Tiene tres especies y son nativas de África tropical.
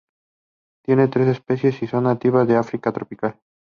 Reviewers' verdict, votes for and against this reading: accepted, 2, 0